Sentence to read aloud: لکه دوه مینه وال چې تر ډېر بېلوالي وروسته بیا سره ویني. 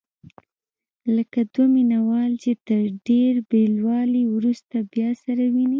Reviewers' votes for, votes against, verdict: 2, 0, accepted